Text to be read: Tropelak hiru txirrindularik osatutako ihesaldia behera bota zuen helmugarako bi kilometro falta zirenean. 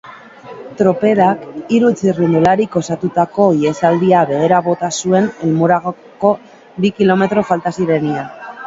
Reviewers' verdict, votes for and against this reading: rejected, 1, 2